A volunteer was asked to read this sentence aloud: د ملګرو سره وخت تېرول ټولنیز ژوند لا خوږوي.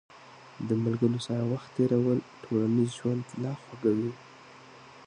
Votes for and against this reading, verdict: 0, 2, rejected